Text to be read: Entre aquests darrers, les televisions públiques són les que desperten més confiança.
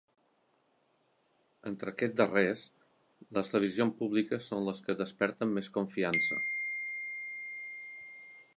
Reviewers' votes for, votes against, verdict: 0, 2, rejected